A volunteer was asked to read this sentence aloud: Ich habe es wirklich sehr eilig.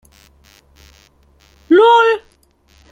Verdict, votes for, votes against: rejected, 0, 2